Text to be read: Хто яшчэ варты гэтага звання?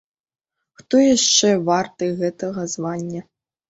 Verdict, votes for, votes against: accepted, 3, 0